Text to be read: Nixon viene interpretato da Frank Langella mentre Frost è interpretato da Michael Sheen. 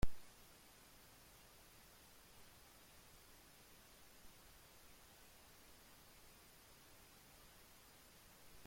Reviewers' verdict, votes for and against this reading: rejected, 0, 2